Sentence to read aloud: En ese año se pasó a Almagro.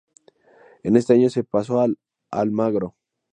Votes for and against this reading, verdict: 0, 2, rejected